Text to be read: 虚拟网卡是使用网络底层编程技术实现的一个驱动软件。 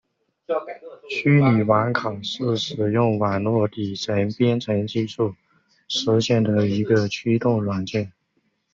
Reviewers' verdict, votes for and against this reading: rejected, 1, 2